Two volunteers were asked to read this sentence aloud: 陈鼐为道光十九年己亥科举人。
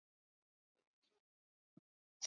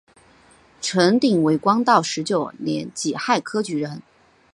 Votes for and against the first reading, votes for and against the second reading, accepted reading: 0, 2, 5, 0, second